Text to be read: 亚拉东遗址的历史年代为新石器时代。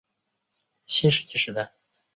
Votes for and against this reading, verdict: 2, 0, accepted